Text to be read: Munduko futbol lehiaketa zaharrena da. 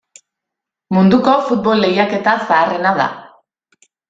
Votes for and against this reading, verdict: 2, 0, accepted